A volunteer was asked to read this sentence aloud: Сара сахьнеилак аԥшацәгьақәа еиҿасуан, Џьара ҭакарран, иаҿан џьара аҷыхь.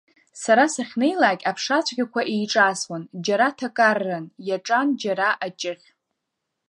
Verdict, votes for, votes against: accepted, 2, 0